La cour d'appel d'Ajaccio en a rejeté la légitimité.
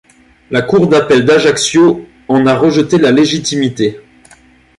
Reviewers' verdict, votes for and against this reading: accepted, 2, 0